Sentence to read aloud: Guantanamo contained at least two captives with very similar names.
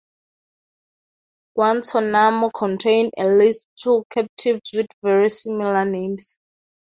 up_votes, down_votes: 2, 0